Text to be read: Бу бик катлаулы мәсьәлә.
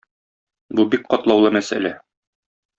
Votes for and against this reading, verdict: 2, 0, accepted